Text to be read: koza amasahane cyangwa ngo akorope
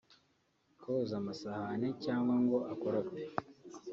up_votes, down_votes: 1, 2